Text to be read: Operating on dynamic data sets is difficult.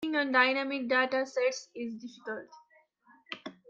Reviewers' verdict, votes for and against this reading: rejected, 0, 2